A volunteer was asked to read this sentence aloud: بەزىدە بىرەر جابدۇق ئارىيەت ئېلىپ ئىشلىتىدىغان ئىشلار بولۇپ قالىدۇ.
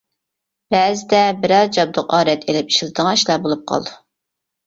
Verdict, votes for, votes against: rejected, 0, 2